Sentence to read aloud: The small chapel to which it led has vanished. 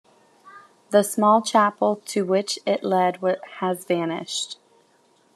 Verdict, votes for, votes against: rejected, 1, 2